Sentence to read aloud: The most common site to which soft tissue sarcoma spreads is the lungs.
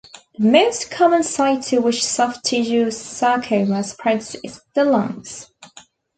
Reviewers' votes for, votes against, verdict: 0, 3, rejected